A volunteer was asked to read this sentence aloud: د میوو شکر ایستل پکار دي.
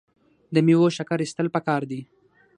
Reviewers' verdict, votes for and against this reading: accepted, 6, 0